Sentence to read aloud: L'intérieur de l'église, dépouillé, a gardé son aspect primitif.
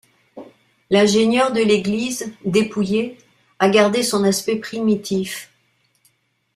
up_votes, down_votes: 0, 2